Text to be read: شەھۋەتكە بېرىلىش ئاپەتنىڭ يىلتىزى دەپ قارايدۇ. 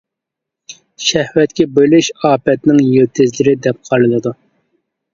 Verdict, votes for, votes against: rejected, 0, 2